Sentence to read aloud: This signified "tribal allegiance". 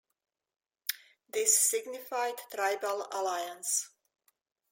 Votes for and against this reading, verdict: 0, 2, rejected